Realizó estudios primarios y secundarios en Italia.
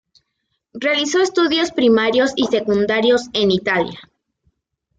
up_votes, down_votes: 2, 1